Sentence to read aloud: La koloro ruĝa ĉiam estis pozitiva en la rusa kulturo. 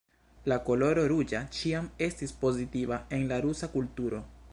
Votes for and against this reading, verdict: 2, 0, accepted